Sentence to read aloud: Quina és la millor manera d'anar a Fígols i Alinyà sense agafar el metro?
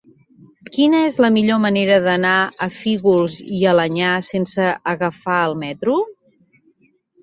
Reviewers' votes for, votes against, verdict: 0, 2, rejected